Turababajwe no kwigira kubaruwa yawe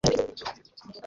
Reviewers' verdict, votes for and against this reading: rejected, 1, 2